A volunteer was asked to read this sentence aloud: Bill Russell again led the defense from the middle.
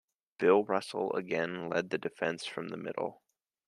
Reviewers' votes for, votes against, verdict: 3, 0, accepted